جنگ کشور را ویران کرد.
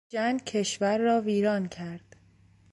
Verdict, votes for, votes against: accepted, 2, 0